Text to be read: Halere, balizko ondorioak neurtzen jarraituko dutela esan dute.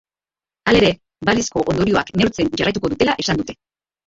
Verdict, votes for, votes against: rejected, 2, 3